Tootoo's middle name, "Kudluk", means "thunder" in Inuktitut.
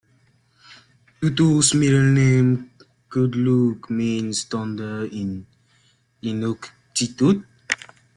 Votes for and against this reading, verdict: 2, 1, accepted